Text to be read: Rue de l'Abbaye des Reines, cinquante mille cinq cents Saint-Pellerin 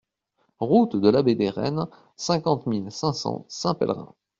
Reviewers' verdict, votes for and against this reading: rejected, 0, 2